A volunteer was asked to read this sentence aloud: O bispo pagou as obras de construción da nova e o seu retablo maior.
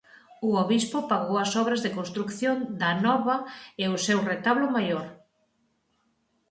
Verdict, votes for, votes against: rejected, 0, 4